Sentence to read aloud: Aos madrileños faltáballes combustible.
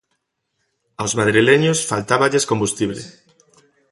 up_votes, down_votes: 2, 1